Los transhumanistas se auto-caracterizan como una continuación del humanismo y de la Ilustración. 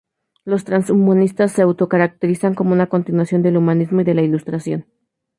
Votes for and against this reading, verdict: 4, 0, accepted